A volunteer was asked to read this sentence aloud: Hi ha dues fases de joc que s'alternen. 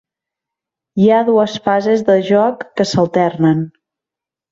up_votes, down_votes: 3, 0